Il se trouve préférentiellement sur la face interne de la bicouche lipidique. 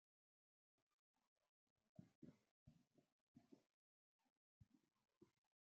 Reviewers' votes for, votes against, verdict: 0, 2, rejected